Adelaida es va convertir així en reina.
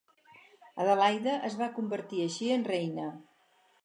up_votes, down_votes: 4, 2